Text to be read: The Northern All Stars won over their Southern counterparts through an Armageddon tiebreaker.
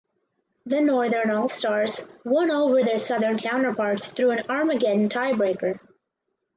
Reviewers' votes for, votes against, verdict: 4, 0, accepted